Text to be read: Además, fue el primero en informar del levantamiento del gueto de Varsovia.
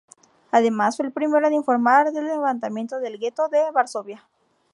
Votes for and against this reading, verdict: 2, 0, accepted